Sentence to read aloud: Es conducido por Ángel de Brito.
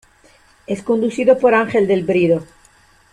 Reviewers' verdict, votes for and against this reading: rejected, 0, 2